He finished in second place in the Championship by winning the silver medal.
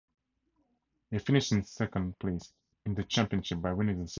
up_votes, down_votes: 0, 4